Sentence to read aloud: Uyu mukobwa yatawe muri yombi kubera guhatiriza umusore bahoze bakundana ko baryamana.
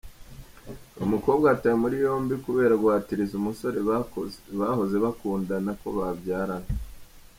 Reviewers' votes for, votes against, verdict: 1, 2, rejected